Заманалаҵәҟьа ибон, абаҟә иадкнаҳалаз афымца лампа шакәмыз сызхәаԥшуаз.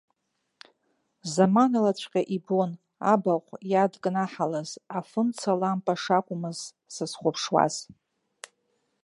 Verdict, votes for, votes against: accepted, 2, 0